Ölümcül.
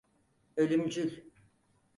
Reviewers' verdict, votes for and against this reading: accepted, 4, 0